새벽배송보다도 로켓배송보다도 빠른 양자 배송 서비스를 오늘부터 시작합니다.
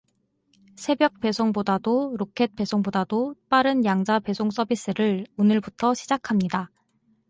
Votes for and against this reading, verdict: 4, 0, accepted